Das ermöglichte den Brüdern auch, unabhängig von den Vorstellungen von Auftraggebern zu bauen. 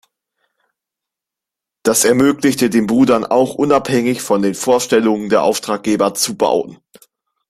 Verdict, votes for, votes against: rejected, 0, 2